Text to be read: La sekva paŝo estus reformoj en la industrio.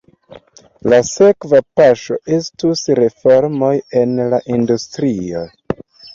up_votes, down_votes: 2, 0